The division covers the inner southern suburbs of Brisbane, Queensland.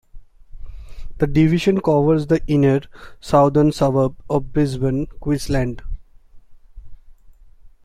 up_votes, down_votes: 2, 0